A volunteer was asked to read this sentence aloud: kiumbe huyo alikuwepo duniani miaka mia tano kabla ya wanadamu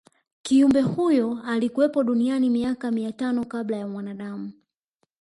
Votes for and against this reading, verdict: 0, 2, rejected